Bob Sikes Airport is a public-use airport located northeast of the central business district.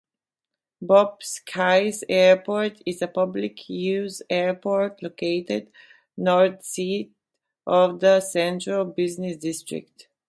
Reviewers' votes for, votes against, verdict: 0, 2, rejected